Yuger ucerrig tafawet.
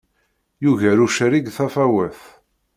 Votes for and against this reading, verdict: 2, 0, accepted